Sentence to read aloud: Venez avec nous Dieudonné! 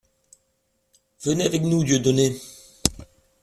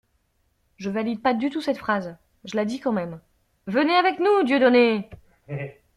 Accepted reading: first